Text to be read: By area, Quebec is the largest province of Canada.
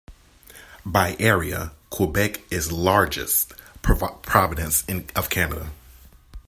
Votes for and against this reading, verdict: 1, 2, rejected